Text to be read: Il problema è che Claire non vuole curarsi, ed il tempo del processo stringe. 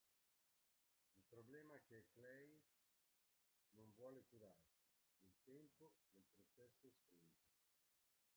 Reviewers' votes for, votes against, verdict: 0, 2, rejected